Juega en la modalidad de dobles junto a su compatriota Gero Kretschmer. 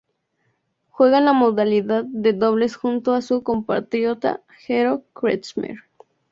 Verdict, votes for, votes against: accepted, 2, 0